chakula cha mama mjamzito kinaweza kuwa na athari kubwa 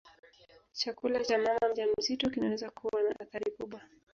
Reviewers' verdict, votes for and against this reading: accepted, 2, 1